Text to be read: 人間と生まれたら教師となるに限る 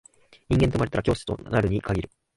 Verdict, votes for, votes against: rejected, 0, 2